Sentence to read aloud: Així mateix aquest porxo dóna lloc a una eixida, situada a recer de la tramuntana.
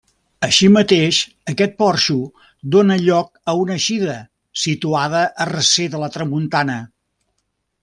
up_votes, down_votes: 2, 0